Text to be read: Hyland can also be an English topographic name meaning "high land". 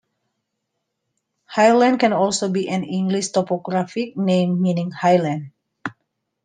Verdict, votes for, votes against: accepted, 2, 0